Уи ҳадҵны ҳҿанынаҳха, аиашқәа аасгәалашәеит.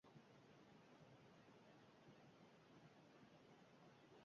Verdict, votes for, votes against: rejected, 0, 2